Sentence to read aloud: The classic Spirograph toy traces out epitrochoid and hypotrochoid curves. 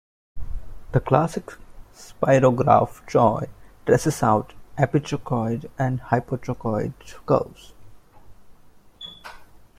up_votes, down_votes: 1, 2